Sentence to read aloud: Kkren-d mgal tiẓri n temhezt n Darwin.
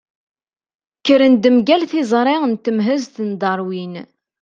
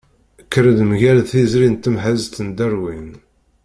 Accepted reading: first